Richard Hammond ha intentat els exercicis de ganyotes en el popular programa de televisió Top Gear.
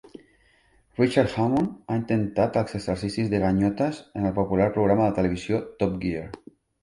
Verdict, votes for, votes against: accepted, 3, 0